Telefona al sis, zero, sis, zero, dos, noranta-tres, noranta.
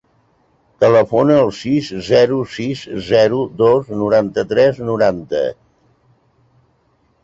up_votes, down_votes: 6, 0